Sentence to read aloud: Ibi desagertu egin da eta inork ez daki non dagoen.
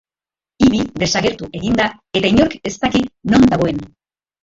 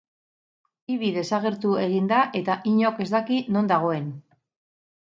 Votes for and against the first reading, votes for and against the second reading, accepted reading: 1, 2, 6, 2, second